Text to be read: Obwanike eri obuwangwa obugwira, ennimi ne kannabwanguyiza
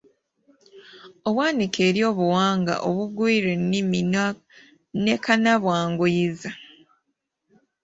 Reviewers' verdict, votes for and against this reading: rejected, 0, 2